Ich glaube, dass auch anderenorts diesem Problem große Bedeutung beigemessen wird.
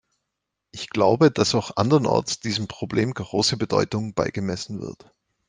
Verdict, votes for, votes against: accepted, 2, 0